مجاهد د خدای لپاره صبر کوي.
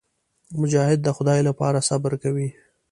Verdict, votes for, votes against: accepted, 2, 0